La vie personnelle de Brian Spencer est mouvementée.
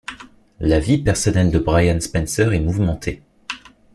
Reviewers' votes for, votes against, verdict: 2, 0, accepted